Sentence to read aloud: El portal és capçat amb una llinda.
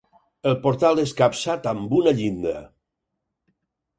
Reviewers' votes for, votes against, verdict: 4, 0, accepted